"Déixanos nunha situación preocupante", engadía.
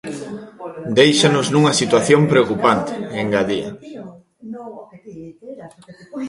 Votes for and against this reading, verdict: 0, 2, rejected